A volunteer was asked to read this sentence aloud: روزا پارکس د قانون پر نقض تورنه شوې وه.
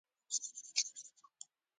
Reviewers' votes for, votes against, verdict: 0, 2, rejected